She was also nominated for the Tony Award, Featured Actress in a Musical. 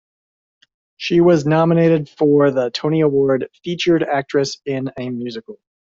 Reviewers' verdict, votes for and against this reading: rejected, 1, 2